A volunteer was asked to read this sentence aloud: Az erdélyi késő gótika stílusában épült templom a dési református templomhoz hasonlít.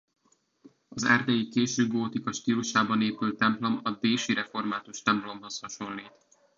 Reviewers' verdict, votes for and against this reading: accepted, 2, 0